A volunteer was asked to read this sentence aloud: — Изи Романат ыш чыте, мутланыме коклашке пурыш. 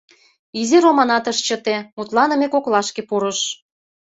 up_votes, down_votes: 2, 0